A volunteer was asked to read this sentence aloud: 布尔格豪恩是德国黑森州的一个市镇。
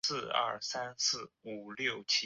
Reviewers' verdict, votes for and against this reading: rejected, 1, 3